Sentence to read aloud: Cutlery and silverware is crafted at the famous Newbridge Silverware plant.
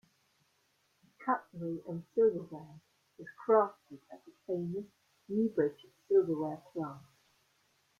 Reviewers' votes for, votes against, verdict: 1, 2, rejected